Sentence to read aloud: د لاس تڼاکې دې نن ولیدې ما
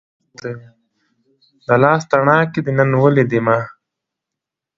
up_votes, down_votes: 0, 2